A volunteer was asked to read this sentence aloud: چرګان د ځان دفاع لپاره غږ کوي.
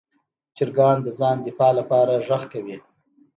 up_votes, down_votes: 2, 0